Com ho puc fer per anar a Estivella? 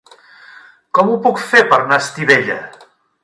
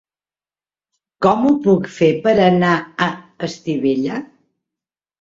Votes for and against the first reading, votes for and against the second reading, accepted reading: 1, 2, 3, 0, second